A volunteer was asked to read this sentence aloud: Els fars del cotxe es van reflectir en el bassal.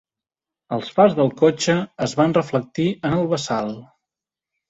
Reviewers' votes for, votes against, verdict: 3, 0, accepted